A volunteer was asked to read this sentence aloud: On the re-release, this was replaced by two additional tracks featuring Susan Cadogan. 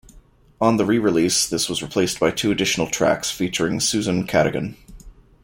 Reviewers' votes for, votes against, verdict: 2, 0, accepted